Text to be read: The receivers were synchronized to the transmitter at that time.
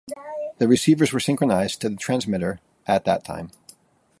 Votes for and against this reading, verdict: 2, 0, accepted